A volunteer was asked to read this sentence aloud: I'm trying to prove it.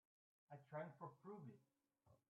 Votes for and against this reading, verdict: 0, 2, rejected